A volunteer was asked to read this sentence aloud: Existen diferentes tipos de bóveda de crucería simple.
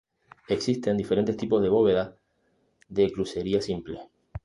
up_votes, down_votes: 2, 0